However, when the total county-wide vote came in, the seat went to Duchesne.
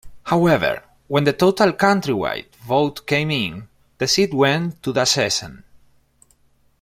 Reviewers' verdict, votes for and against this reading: rejected, 1, 2